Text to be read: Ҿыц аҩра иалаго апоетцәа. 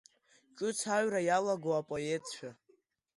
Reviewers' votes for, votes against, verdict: 0, 2, rejected